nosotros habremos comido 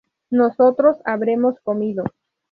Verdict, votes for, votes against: rejected, 2, 2